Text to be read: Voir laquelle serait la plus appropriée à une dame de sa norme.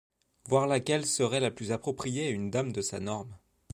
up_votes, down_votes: 2, 0